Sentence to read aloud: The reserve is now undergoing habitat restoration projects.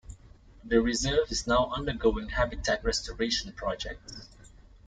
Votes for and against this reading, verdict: 2, 1, accepted